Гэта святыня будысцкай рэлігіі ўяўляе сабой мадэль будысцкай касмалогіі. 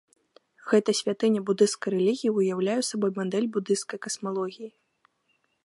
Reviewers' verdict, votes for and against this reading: accepted, 2, 0